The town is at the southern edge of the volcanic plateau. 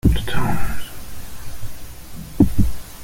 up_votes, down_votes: 0, 2